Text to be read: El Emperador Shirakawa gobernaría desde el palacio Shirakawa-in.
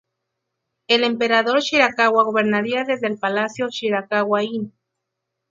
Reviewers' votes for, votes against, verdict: 2, 2, rejected